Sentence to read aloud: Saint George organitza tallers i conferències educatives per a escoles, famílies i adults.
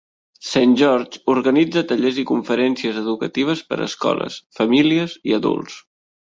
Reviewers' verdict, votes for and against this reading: accepted, 2, 0